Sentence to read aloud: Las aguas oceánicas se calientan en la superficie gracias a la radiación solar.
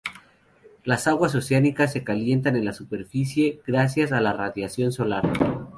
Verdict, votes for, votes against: accepted, 4, 0